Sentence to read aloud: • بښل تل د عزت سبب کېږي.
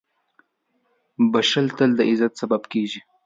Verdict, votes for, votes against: accepted, 2, 0